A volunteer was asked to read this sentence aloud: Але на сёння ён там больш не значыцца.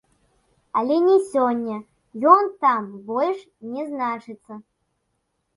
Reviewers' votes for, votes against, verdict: 0, 2, rejected